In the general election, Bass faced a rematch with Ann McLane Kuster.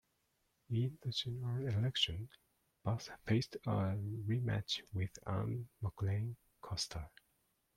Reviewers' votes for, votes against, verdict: 1, 2, rejected